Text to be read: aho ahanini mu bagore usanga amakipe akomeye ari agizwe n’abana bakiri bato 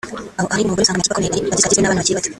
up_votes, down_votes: 1, 2